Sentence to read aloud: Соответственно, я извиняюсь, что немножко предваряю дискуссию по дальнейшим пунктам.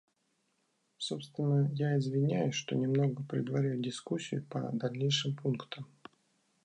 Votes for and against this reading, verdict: 0, 2, rejected